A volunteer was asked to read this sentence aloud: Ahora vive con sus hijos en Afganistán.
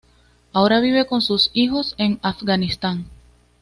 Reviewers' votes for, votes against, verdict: 2, 0, accepted